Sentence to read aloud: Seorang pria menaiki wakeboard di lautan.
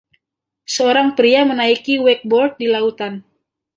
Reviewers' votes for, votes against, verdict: 2, 0, accepted